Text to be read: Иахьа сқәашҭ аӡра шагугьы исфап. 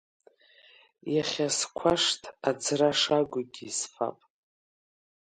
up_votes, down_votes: 2, 1